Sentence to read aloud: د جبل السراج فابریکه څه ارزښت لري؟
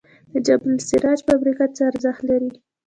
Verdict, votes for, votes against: rejected, 0, 2